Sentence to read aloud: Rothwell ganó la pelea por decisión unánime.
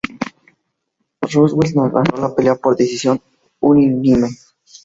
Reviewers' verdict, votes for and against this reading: rejected, 0, 4